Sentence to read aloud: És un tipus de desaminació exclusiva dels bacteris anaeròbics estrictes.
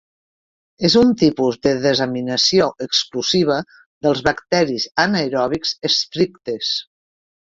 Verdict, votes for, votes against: accepted, 2, 0